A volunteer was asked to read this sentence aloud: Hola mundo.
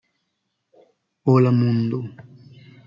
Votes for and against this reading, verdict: 2, 0, accepted